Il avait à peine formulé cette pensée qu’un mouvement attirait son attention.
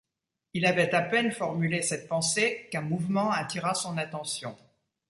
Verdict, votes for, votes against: rejected, 0, 2